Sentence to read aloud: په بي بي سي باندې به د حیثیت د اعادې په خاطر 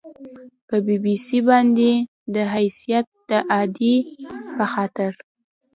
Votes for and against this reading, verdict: 2, 0, accepted